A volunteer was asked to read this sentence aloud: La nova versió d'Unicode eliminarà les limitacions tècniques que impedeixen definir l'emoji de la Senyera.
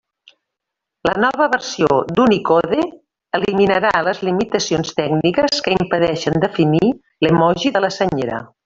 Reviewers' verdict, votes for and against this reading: rejected, 1, 2